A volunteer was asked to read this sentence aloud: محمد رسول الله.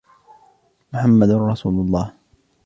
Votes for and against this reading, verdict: 2, 0, accepted